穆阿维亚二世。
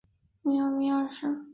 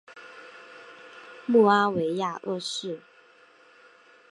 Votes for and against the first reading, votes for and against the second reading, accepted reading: 0, 2, 3, 1, second